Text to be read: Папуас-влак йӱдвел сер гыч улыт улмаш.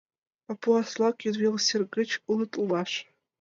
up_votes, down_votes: 2, 3